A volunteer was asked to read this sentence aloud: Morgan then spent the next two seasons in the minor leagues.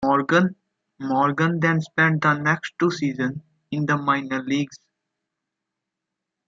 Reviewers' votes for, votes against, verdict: 0, 2, rejected